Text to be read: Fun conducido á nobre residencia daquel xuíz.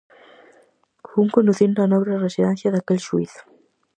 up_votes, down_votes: 0, 4